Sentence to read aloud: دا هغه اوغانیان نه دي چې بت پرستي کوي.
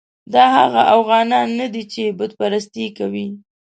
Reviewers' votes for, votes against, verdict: 1, 2, rejected